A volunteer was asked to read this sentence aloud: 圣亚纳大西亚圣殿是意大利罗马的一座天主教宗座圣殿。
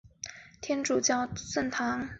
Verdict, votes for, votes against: rejected, 1, 4